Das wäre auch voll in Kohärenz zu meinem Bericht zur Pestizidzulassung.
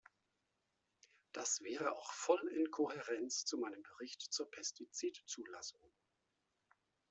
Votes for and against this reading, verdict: 2, 0, accepted